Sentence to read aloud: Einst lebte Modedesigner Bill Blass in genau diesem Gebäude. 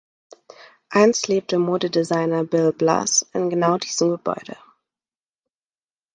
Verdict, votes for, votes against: rejected, 1, 2